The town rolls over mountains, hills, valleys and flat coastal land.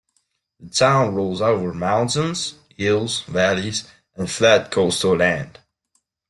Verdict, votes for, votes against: accepted, 2, 0